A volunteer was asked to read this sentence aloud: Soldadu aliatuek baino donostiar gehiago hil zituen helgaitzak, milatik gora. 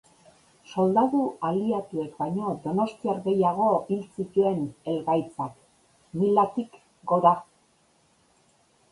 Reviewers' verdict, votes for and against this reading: rejected, 1, 2